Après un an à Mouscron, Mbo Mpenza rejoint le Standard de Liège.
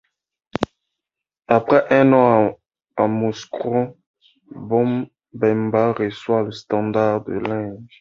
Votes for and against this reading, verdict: 0, 2, rejected